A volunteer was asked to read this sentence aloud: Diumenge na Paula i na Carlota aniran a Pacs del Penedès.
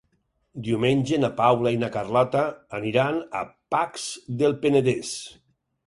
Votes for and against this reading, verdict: 6, 0, accepted